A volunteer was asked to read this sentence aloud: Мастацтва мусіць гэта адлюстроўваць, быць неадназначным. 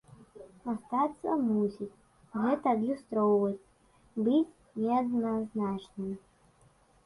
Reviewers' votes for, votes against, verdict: 1, 2, rejected